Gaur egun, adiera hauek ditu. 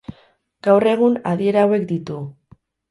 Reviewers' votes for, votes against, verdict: 6, 0, accepted